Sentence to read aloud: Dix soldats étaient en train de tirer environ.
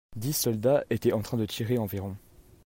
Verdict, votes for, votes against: accepted, 2, 0